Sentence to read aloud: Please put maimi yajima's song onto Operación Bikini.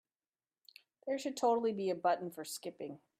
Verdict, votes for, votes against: rejected, 0, 2